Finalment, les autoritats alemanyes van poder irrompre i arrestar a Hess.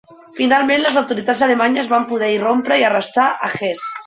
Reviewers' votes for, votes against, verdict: 1, 2, rejected